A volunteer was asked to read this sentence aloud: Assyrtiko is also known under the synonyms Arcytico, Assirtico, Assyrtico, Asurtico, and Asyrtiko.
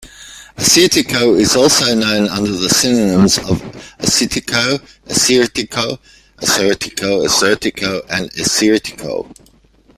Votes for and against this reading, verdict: 2, 1, accepted